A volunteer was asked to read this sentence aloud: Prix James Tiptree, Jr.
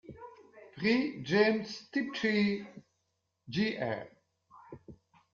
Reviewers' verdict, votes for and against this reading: rejected, 1, 2